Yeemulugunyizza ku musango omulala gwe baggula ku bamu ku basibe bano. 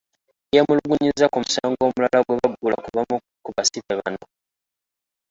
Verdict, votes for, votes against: rejected, 0, 2